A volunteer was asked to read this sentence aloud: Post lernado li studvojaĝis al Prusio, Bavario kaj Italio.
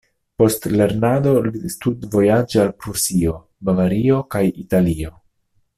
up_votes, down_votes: 0, 2